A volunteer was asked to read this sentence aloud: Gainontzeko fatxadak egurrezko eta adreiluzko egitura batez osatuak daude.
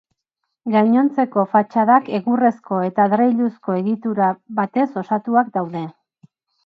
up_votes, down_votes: 4, 0